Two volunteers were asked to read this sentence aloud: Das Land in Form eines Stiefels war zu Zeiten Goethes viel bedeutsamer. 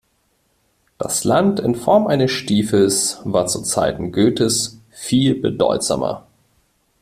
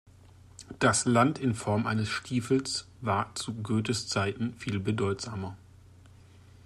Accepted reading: first